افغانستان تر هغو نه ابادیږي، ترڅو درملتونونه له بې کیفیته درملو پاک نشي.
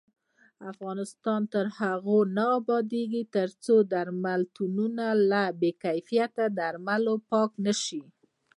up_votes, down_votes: 1, 2